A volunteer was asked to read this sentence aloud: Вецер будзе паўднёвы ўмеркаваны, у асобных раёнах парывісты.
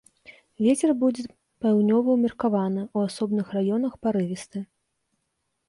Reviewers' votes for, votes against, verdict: 1, 2, rejected